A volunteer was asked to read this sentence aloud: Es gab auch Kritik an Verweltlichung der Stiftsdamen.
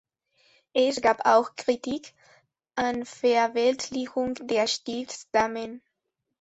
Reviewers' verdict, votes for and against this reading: rejected, 1, 2